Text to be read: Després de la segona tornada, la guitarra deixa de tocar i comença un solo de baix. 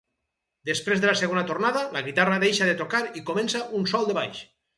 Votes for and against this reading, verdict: 2, 2, rejected